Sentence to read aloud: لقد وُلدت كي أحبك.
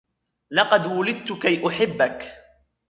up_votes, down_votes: 2, 1